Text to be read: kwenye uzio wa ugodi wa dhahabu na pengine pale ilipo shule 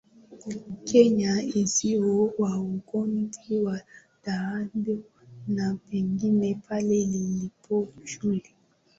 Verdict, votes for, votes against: rejected, 1, 2